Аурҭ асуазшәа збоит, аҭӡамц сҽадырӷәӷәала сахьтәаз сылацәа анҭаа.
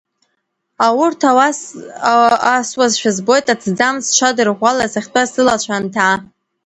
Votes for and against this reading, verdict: 2, 1, accepted